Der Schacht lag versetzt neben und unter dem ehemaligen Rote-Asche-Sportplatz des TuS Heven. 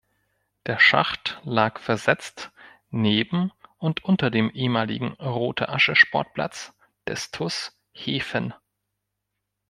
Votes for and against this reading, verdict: 1, 2, rejected